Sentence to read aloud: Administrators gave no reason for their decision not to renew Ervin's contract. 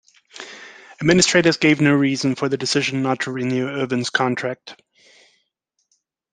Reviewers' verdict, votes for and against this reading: rejected, 1, 2